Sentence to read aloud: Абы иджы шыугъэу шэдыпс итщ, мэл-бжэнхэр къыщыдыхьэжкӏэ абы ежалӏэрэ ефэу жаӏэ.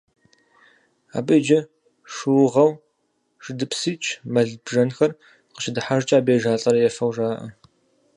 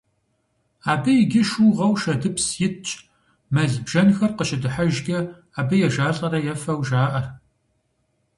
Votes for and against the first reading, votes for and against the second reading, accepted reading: 0, 4, 2, 0, second